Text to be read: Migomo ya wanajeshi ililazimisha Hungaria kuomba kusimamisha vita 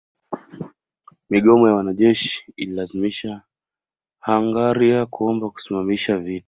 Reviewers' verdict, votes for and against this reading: rejected, 1, 2